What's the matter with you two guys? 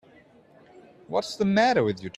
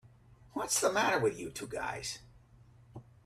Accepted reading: second